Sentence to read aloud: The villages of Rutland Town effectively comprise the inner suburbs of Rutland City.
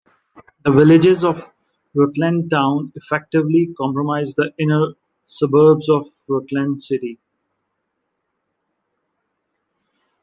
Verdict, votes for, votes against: rejected, 0, 2